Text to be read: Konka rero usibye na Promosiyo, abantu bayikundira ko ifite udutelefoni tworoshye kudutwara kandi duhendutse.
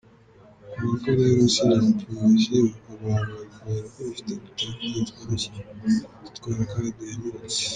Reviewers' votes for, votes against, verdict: 0, 2, rejected